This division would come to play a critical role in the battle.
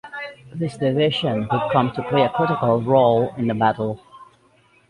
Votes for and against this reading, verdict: 2, 0, accepted